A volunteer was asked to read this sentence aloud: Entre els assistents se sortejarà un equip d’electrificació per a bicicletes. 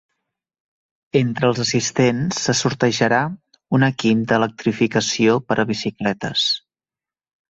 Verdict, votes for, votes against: accepted, 3, 0